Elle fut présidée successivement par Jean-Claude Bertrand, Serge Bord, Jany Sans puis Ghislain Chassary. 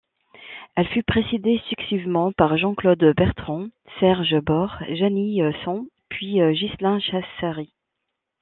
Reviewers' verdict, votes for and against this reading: rejected, 1, 2